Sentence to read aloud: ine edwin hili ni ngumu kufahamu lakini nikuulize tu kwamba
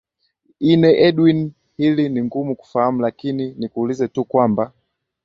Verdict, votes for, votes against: accepted, 4, 0